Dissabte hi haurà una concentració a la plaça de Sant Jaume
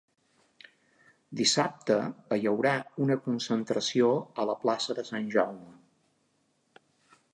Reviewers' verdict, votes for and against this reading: rejected, 1, 2